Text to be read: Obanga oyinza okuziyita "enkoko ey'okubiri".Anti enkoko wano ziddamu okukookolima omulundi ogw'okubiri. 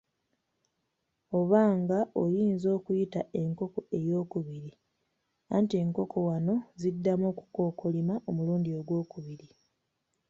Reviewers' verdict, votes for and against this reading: rejected, 0, 2